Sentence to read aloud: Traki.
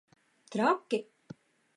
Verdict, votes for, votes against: accepted, 2, 0